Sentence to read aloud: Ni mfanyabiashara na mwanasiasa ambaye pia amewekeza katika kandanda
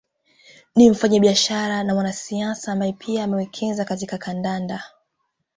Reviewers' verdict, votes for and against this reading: accepted, 2, 0